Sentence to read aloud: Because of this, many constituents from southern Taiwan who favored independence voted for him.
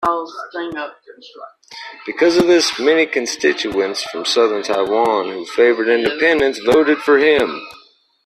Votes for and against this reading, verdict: 0, 2, rejected